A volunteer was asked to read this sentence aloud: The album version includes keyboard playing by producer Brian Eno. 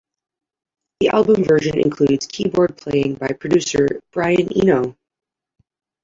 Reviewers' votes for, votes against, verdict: 1, 2, rejected